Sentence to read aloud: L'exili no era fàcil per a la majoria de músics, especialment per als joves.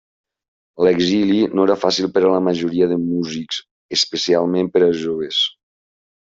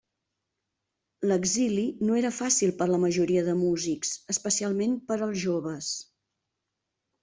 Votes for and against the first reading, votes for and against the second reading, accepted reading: 4, 0, 1, 2, first